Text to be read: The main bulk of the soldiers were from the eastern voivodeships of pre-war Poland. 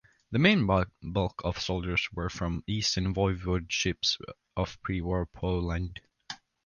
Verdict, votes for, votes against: rejected, 1, 2